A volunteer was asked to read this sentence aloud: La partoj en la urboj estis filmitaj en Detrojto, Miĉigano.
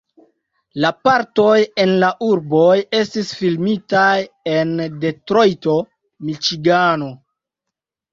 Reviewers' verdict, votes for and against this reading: accepted, 2, 0